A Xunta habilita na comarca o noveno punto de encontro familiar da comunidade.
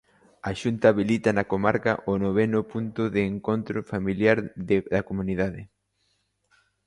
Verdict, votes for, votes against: rejected, 0, 2